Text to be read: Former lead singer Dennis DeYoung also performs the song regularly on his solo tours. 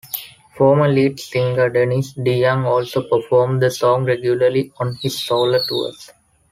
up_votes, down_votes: 2, 0